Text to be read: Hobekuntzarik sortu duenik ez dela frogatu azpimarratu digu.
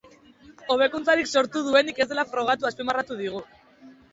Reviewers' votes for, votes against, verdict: 3, 0, accepted